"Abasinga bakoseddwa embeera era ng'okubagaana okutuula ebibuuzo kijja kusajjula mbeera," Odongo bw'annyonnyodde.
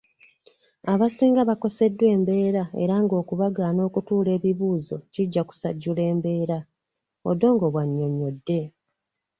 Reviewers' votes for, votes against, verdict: 2, 0, accepted